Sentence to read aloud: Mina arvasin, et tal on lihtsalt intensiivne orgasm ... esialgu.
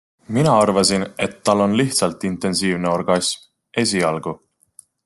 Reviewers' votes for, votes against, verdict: 2, 0, accepted